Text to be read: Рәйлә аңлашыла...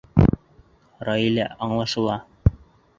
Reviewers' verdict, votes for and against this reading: rejected, 0, 2